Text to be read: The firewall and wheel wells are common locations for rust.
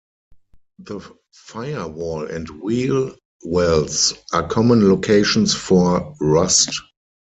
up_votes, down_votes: 2, 4